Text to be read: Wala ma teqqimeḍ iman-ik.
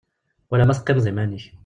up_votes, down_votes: 2, 0